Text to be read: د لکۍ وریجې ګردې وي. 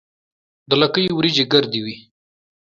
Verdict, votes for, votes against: accepted, 2, 0